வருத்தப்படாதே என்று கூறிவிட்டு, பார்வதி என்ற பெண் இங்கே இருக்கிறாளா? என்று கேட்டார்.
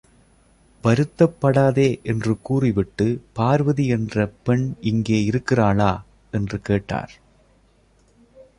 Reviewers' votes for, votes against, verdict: 2, 0, accepted